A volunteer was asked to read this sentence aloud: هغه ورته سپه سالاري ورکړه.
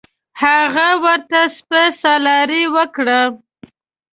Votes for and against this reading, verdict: 2, 0, accepted